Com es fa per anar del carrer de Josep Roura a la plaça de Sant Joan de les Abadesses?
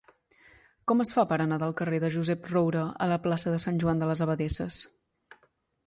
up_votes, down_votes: 2, 0